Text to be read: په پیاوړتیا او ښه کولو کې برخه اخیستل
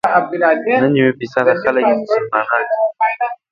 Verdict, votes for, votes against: rejected, 1, 3